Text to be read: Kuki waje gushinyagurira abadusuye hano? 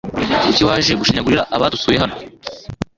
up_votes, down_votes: 0, 2